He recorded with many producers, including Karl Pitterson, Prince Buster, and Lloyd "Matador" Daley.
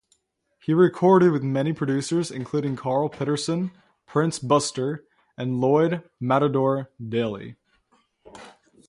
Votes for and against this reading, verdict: 3, 0, accepted